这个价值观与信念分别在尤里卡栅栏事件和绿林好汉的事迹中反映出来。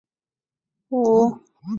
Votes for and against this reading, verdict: 5, 3, accepted